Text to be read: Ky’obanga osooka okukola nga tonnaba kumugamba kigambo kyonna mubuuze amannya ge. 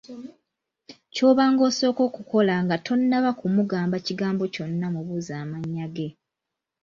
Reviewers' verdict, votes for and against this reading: accepted, 2, 0